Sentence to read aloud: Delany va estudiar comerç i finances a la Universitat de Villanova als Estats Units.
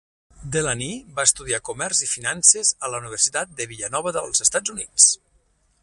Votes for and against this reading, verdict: 0, 6, rejected